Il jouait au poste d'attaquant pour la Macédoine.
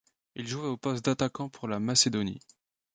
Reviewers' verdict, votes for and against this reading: rejected, 1, 2